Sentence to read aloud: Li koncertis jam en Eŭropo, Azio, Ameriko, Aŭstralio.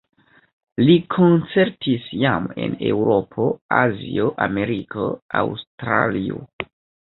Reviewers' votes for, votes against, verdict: 1, 2, rejected